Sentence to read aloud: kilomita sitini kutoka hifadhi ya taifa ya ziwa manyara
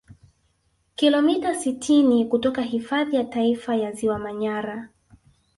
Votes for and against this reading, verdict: 0, 2, rejected